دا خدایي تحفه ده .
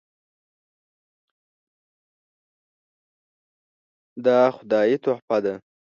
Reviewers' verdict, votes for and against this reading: rejected, 1, 2